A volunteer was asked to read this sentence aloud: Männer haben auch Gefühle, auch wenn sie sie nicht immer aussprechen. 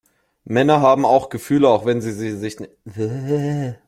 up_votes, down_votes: 0, 2